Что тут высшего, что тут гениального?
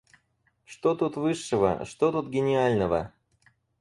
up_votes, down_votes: 2, 4